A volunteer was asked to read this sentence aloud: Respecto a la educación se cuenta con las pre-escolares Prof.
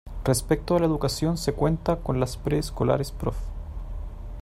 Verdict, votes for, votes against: accepted, 2, 0